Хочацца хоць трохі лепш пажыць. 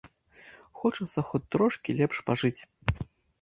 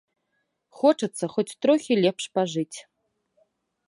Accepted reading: second